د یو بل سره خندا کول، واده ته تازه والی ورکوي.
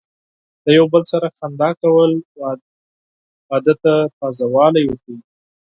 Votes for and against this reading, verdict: 0, 6, rejected